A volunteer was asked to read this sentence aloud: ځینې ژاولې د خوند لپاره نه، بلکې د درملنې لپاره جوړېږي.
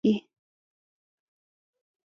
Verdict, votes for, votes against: rejected, 0, 2